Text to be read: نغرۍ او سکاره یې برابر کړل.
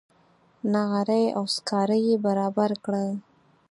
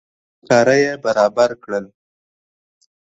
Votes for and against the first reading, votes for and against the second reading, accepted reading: 4, 0, 1, 2, first